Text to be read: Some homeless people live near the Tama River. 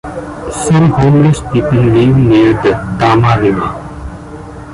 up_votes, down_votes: 2, 0